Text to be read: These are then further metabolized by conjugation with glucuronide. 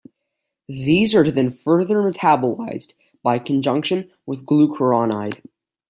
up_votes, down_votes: 2, 0